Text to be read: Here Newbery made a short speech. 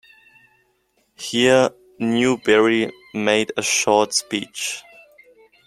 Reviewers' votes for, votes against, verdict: 2, 0, accepted